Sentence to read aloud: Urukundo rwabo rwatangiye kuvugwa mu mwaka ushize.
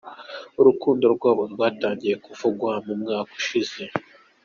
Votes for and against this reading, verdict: 2, 0, accepted